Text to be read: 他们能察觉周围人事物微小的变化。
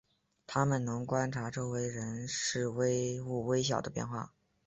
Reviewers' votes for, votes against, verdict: 0, 4, rejected